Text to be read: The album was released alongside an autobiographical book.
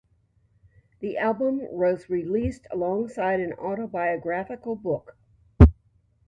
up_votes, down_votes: 2, 1